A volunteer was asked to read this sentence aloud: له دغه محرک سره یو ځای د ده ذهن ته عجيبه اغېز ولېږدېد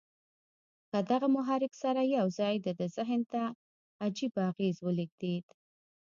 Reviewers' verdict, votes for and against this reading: rejected, 1, 2